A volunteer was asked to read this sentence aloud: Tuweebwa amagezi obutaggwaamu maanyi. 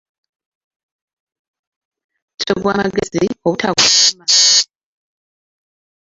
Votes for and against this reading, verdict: 0, 2, rejected